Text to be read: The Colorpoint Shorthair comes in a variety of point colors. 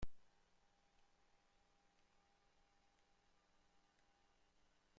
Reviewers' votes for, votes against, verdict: 1, 2, rejected